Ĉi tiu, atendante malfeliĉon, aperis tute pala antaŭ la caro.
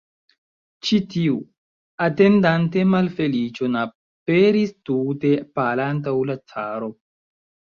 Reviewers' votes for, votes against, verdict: 0, 2, rejected